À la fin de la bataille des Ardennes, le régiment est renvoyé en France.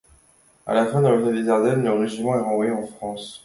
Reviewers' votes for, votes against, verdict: 1, 2, rejected